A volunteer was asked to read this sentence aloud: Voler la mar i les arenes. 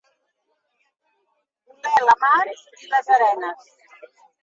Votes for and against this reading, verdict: 1, 2, rejected